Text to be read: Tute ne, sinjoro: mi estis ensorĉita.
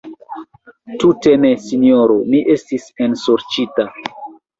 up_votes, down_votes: 1, 2